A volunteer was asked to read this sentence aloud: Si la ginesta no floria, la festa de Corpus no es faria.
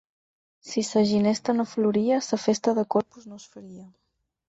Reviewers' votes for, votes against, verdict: 6, 8, rejected